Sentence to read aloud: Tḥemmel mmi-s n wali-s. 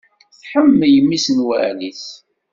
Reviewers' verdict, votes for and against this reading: accepted, 2, 0